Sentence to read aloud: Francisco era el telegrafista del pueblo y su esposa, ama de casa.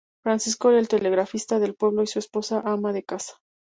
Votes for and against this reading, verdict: 0, 2, rejected